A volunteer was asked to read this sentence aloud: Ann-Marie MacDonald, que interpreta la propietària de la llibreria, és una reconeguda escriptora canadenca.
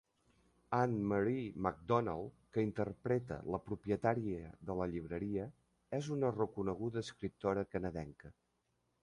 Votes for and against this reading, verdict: 2, 0, accepted